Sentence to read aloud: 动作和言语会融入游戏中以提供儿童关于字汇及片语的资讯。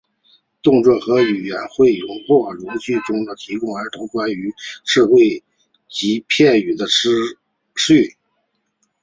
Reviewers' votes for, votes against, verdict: 0, 2, rejected